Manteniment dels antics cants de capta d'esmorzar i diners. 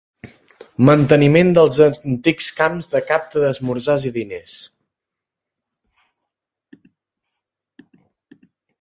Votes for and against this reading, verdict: 1, 2, rejected